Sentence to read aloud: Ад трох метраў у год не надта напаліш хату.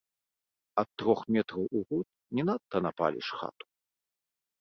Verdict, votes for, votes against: rejected, 1, 2